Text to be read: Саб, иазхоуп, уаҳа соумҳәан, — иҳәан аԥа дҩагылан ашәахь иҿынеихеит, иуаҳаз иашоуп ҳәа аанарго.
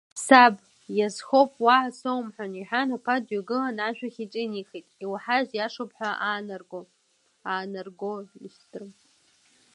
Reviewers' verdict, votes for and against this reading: rejected, 1, 2